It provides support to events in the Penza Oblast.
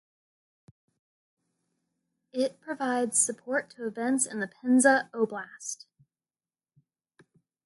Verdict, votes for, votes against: accepted, 2, 0